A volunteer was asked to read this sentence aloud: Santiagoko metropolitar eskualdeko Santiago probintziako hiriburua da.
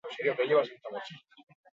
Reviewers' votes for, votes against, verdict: 0, 4, rejected